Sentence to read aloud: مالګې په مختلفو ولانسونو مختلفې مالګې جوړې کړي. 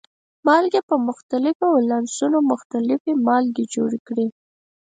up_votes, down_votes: 4, 0